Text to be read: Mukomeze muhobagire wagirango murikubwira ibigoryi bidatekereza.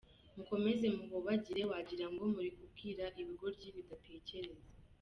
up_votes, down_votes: 2, 0